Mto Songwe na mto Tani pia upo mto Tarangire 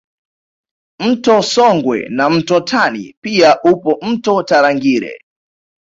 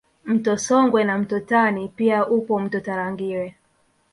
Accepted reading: first